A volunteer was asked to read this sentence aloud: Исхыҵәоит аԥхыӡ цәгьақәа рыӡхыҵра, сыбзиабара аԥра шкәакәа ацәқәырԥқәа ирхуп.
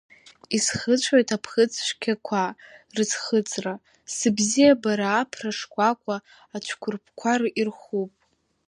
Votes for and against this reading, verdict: 2, 3, rejected